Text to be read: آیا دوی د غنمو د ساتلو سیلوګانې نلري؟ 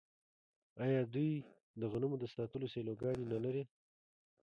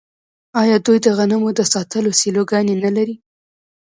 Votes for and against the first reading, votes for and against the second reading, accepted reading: 3, 2, 1, 2, first